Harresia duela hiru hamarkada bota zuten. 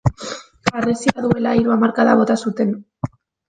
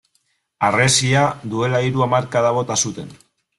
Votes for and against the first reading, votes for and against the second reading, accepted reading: 0, 2, 2, 0, second